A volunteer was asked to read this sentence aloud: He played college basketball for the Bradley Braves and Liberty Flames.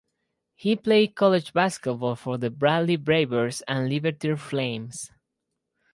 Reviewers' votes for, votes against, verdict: 2, 4, rejected